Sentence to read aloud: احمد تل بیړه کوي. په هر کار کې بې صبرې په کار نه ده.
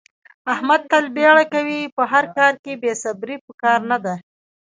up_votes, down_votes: 1, 2